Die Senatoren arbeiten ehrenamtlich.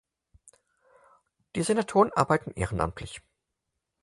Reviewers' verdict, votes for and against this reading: accepted, 4, 0